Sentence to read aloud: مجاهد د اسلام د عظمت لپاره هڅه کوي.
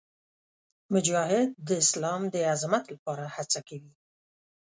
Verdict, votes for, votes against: accepted, 5, 0